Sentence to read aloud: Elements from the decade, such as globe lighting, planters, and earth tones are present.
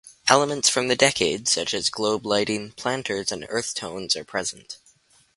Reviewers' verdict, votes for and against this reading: rejected, 2, 2